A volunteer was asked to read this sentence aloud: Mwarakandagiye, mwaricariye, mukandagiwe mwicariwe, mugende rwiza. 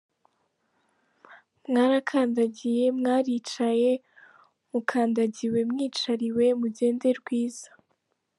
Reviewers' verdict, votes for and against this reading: rejected, 1, 2